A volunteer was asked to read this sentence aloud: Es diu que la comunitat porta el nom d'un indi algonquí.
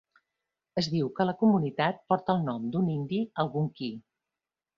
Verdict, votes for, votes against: accepted, 2, 0